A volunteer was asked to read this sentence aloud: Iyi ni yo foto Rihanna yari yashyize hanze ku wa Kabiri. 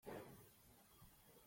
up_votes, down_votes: 0, 3